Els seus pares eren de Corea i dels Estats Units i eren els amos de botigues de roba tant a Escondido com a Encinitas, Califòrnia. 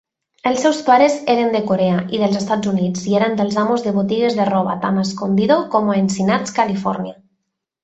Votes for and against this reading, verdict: 0, 2, rejected